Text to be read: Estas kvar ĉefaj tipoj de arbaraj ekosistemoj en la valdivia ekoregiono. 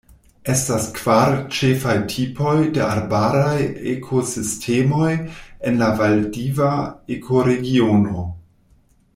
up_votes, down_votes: 0, 2